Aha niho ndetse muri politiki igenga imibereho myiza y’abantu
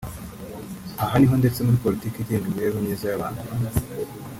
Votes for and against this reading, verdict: 3, 0, accepted